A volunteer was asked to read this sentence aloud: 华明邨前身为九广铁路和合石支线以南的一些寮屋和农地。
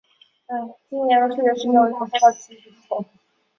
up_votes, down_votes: 0, 3